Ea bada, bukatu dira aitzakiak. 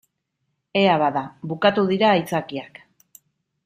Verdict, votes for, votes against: accepted, 2, 0